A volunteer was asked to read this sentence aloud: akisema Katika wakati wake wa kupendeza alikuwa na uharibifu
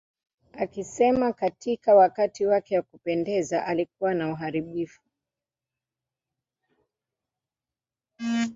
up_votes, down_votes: 0, 2